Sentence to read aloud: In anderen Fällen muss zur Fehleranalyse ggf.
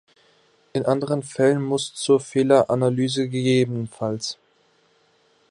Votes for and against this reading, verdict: 1, 2, rejected